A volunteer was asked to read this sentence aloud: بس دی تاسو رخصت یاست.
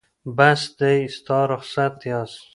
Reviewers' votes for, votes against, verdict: 1, 2, rejected